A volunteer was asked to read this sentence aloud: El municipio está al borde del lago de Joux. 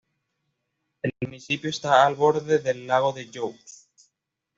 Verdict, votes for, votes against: accepted, 2, 0